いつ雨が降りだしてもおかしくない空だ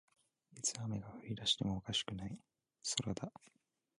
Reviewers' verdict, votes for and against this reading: accepted, 2, 0